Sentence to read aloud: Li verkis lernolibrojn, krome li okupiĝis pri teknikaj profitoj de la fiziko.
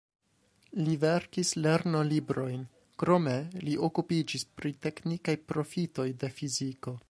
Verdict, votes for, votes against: accepted, 2, 0